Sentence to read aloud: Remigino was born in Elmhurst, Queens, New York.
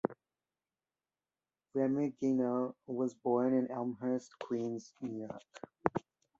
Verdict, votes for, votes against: rejected, 1, 2